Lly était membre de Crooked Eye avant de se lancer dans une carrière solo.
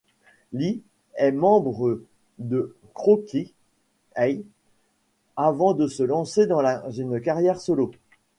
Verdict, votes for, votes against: rejected, 1, 2